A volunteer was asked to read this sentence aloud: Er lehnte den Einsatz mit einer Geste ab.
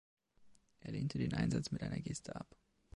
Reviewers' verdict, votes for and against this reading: accepted, 2, 0